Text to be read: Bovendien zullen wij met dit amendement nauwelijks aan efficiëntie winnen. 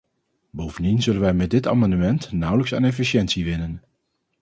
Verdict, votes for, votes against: accepted, 2, 0